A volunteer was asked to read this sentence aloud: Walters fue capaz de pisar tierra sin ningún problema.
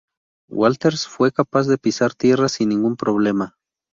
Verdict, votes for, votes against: accepted, 2, 0